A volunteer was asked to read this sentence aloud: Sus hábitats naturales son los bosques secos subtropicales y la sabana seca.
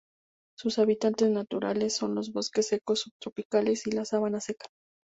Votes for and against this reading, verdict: 0, 2, rejected